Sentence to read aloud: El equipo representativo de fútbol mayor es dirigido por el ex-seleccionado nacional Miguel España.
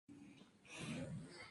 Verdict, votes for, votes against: rejected, 0, 4